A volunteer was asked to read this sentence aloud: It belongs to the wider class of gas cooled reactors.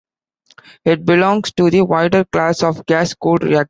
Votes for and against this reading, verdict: 0, 2, rejected